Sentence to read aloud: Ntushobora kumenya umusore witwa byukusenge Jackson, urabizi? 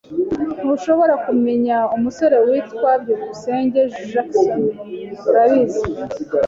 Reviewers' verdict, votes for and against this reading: accepted, 2, 0